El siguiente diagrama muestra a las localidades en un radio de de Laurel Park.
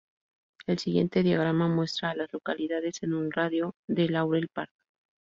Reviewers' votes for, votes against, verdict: 0, 2, rejected